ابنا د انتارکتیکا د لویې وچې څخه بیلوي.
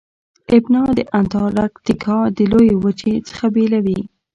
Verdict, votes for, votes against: rejected, 1, 2